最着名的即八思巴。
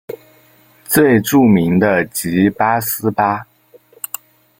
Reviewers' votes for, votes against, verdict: 1, 2, rejected